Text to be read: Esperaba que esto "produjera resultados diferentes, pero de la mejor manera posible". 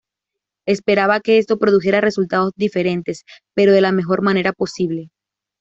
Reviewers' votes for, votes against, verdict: 2, 0, accepted